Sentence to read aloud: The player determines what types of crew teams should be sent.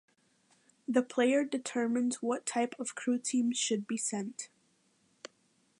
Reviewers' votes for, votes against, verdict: 3, 2, accepted